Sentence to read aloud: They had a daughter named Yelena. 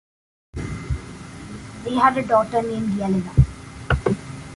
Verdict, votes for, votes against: rejected, 1, 2